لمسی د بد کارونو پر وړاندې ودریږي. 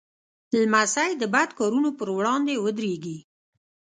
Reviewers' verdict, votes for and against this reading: rejected, 0, 2